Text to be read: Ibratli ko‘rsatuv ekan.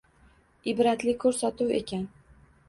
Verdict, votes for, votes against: accepted, 2, 0